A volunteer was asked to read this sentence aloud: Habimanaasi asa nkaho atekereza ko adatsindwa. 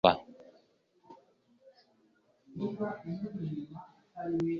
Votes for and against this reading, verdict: 0, 2, rejected